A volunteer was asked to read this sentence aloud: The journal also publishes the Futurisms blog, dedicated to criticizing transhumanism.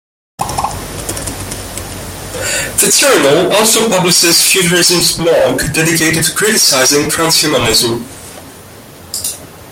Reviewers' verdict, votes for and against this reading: rejected, 1, 2